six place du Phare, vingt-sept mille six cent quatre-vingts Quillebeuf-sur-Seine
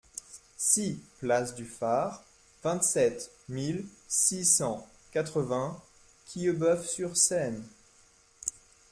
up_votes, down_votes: 2, 0